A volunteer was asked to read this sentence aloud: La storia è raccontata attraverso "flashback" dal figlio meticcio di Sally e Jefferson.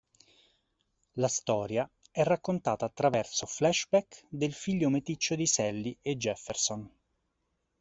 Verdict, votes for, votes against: rejected, 1, 2